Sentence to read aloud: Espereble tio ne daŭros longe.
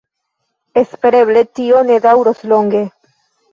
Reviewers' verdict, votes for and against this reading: accepted, 2, 1